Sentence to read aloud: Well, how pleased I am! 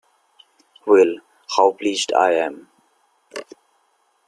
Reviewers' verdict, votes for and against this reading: accepted, 2, 0